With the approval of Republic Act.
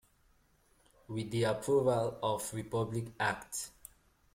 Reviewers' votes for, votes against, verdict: 2, 0, accepted